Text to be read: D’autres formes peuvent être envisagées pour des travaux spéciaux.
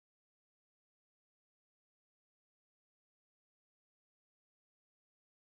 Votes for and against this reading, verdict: 0, 2, rejected